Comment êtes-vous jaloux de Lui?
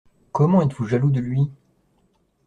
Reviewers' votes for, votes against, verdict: 2, 0, accepted